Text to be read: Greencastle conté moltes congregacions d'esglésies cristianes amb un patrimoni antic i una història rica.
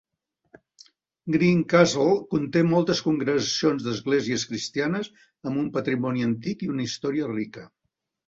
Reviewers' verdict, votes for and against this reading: accepted, 2, 0